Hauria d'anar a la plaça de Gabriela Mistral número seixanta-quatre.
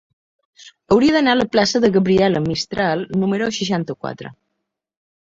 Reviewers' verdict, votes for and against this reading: accepted, 3, 0